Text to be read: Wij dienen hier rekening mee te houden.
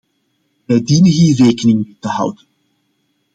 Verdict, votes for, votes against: rejected, 1, 2